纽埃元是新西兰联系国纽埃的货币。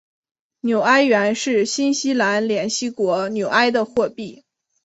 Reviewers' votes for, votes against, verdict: 1, 2, rejected